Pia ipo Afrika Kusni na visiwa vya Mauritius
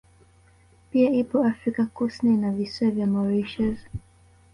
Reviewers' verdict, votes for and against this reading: rejected, 1, 2